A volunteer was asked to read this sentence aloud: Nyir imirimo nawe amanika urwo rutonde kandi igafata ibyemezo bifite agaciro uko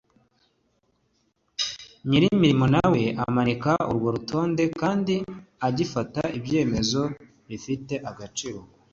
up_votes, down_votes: 2, 0